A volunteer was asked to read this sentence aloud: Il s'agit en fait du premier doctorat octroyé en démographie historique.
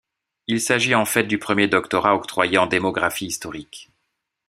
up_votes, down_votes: 2, 0